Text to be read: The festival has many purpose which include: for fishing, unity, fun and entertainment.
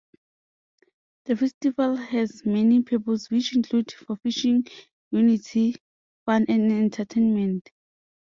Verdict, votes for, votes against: accepted, 2, 0